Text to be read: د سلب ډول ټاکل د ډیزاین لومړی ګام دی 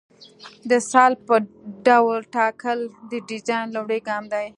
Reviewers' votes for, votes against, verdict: 2, 0, accepted